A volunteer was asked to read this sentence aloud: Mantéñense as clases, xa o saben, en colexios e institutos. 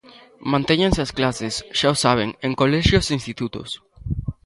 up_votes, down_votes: 2, 0